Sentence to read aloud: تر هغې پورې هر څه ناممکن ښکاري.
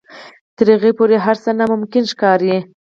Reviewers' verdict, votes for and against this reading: rejected, 2, 4